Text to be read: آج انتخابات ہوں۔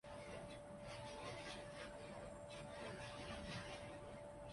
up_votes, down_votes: 0, 3